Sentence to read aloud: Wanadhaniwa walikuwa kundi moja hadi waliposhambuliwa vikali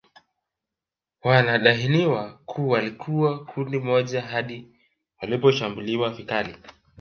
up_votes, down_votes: 2, 0